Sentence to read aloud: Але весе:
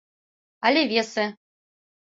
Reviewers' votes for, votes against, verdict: 2, 0, accepted